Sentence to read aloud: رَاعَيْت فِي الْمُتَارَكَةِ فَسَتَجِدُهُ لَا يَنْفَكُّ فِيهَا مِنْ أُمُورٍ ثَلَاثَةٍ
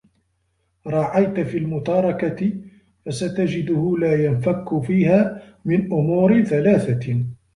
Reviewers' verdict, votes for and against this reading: rejected, 1, 2